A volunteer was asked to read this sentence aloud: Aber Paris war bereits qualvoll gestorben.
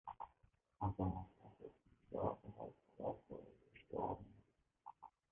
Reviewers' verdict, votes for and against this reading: rejected, 0, 2